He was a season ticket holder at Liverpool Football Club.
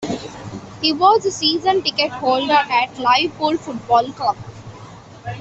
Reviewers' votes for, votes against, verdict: 0, 2, rejected